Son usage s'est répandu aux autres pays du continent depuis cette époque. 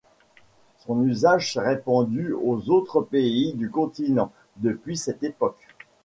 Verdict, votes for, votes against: accepted, 2, 0